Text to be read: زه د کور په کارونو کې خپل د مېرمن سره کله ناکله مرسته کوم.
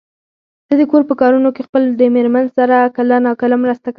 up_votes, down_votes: 2, 4